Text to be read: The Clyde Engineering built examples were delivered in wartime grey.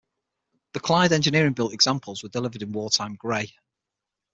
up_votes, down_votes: 6, 0